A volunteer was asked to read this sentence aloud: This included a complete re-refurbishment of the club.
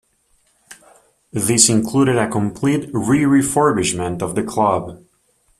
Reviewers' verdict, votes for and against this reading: accepted, 2, 0